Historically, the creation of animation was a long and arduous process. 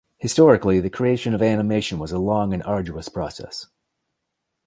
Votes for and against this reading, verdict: 2, 0, accepted